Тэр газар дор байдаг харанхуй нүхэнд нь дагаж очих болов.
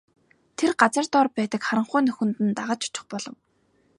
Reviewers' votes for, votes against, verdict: 2, 0, accepted